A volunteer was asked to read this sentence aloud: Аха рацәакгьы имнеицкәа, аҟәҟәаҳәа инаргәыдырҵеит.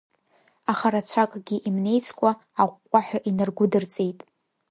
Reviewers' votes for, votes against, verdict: 2, 0, accepted